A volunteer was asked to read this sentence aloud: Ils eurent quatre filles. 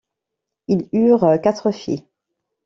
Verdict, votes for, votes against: rejected, 0, 2